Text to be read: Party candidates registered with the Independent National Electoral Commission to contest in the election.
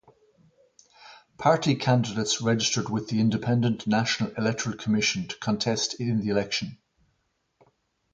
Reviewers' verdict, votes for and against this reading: accepted, 4, 0